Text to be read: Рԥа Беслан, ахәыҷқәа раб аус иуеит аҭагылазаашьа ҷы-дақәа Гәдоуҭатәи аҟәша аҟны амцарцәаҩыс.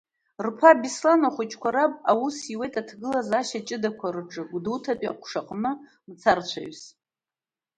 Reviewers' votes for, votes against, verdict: 1, 2, rejected